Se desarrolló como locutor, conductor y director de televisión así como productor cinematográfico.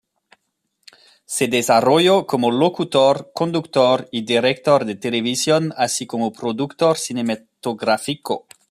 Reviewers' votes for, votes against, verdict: 2, 1, accepted